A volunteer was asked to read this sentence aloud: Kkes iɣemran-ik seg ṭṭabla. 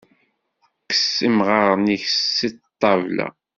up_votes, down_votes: 1, 2